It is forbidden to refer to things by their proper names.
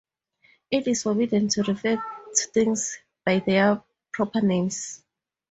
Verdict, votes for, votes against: accepted, 2, 0